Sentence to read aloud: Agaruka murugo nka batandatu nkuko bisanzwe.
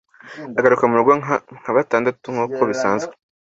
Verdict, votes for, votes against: rejected, 0, 2